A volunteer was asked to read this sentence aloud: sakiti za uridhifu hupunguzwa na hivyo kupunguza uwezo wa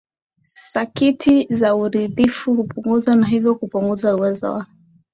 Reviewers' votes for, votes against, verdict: 3, 0, accepted